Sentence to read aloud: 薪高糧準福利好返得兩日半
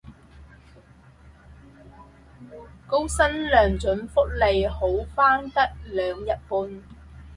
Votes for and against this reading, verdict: 0, 4, rejected